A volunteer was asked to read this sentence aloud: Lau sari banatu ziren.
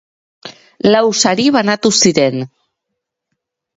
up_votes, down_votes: 2, 0